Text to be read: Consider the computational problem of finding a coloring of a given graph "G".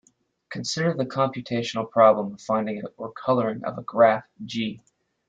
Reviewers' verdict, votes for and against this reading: rejected, 0, 2